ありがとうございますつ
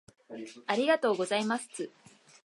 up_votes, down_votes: 4, 0